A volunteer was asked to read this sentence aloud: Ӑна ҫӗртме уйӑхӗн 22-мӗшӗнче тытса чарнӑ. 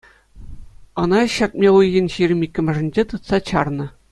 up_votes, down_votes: 0, 2